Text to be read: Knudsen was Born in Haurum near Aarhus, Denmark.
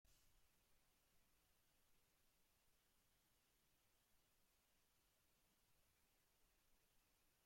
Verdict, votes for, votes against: rejected, 0, 2